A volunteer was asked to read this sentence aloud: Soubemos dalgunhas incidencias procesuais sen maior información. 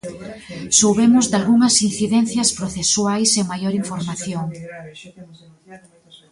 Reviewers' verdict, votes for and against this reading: rejected, 1, 2